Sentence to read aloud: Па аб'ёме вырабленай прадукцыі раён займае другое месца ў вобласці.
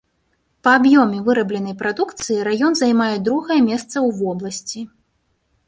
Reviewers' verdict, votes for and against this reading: rejected, 0, 2